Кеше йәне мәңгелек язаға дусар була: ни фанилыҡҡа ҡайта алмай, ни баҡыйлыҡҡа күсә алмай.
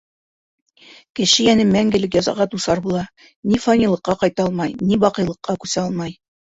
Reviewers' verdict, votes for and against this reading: accepted, 2, 0